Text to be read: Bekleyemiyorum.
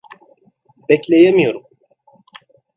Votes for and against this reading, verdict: 2, 0, accepted